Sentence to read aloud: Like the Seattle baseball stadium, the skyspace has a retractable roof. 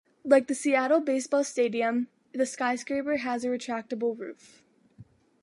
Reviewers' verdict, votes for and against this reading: rejected, 1, 2